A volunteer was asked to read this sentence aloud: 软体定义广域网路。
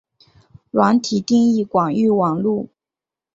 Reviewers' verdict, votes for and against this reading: accepted, 4, 0